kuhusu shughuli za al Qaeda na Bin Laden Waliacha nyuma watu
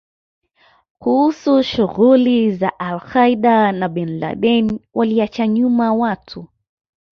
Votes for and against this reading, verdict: 2, 0, accepted